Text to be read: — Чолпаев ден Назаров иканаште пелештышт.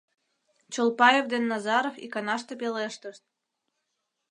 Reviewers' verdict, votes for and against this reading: accepted, 2, 0